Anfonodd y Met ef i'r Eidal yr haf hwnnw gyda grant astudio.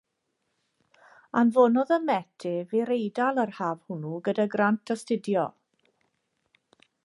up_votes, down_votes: 2, 0